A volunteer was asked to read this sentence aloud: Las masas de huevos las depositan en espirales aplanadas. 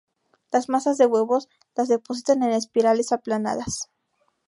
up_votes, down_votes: 2, 0